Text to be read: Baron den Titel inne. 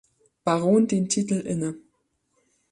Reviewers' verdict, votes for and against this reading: accepted, 3, 0